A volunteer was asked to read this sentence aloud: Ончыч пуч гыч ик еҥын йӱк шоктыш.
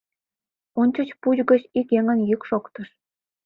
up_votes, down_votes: 2, 0